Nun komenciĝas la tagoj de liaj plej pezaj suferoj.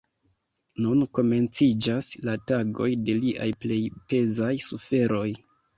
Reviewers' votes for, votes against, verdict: 2, 3, rejected